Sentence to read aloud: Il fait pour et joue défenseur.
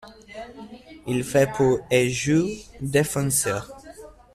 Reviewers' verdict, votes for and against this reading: accepted, 2, 0